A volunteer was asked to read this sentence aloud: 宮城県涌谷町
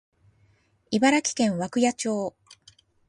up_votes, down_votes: 0, 2